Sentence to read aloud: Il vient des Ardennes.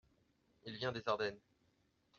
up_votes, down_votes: 2, 0